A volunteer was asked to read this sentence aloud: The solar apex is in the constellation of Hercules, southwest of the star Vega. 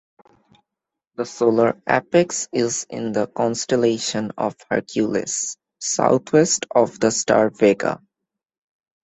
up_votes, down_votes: 2, 0